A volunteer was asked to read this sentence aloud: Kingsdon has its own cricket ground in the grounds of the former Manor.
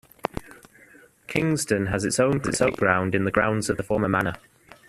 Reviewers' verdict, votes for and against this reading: rejected, 0, 2